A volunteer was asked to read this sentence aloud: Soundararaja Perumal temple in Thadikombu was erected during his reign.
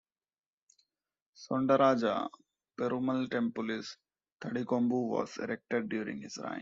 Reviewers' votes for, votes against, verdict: 0, 3, rejected